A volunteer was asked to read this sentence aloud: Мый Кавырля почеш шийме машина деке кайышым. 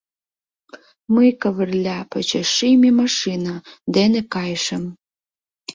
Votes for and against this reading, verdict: 0, 2, rejected